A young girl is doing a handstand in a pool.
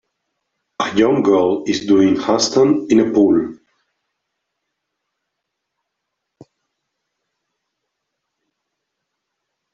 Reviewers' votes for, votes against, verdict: 1, 2, rejected